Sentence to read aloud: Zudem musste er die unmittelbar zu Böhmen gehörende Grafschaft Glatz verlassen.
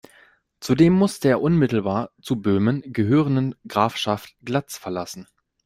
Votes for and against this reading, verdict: 0, 2, rejected